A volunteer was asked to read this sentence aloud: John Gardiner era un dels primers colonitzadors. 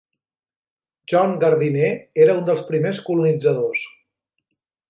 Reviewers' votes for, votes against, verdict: 0, 2, rejected